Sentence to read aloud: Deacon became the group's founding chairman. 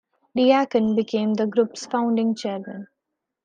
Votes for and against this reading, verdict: 1, 2, rejected